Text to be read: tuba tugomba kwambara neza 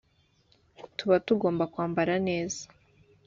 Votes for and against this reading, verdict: 2, 0, accepted